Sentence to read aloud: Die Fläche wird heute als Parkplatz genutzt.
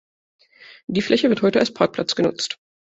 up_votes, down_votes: 3, 0